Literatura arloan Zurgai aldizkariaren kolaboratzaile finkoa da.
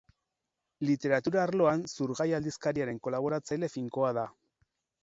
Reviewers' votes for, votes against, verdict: 4, 0, accepted